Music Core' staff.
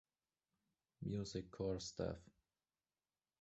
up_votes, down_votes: 2, 0